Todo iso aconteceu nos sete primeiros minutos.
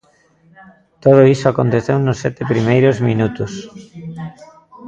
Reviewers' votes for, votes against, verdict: 1, 2, rejected